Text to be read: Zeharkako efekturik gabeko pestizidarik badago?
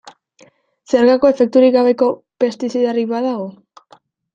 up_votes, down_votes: 2, 1